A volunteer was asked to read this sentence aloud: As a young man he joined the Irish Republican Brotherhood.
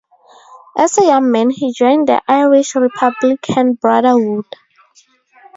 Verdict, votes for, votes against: rejected, 0, 2